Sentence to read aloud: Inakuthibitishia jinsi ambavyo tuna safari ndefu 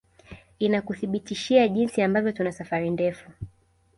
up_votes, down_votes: 2, 0